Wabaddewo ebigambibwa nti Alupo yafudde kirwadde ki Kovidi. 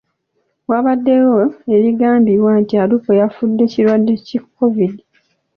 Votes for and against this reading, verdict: 2, 1, accepted